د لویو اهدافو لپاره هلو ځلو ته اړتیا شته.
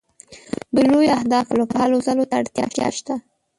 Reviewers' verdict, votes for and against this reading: rejected, 0, 2